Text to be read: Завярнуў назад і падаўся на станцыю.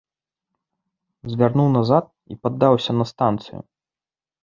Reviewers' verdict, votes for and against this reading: rejected, 1, 2